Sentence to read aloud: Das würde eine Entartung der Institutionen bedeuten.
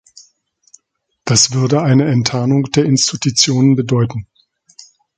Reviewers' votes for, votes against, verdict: 0, 2, rejected